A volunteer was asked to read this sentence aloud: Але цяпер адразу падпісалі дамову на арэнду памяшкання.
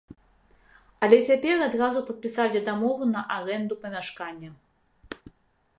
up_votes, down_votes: 2, 1